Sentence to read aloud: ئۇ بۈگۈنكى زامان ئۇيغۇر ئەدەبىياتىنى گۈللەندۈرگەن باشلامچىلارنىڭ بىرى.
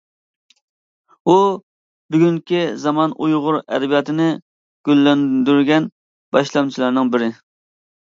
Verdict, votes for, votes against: accepted, 2, 0